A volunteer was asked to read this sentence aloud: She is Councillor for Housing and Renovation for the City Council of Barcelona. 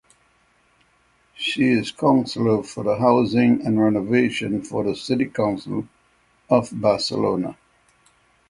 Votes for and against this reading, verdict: 6, 3, accepted